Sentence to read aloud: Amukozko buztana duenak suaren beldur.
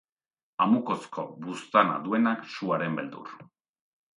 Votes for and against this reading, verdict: 2, 0, accepted